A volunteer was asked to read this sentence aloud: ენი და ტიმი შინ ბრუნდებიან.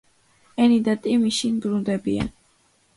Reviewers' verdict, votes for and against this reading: accepted, 2, 0